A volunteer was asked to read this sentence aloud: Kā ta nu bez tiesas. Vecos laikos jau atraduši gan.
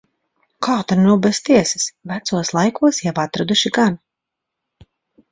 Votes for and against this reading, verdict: 2, 0, accepted